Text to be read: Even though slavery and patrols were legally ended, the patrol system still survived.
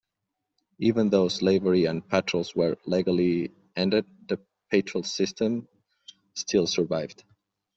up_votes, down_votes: 1, 2